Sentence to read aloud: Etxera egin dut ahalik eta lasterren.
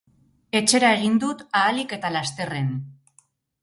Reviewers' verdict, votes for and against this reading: rejected, 0, 2